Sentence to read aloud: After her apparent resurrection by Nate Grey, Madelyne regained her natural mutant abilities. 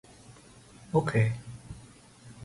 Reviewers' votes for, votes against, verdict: 0, 2, rejected